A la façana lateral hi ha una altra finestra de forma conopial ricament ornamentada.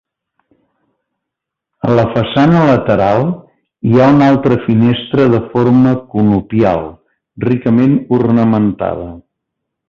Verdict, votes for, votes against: accepted, 2, 0